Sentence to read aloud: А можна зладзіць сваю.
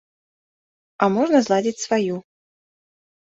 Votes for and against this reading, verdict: 2, 0, accepted